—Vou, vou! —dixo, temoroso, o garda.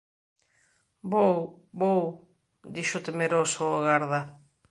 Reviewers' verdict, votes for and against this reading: rejected, 0, 2